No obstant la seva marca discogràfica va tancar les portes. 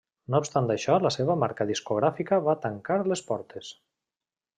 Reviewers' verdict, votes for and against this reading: rejected, 1, 2